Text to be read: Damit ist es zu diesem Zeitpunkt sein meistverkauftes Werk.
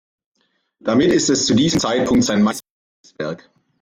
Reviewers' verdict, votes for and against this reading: rejected, 0, 2